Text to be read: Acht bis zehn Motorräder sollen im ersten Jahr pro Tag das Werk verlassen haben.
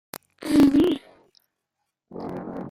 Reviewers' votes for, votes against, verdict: 0, 2, rejected